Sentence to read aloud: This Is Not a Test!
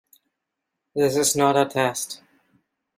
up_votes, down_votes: 2, 0